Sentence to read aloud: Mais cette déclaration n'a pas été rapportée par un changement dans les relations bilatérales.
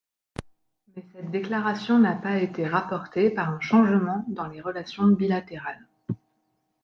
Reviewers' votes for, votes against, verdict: 0, 2, rejected